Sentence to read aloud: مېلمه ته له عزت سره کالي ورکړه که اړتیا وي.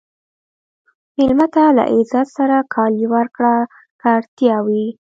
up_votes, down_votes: 2, 0